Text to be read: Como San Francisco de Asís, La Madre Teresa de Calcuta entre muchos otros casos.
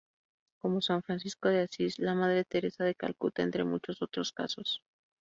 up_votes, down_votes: 2, 0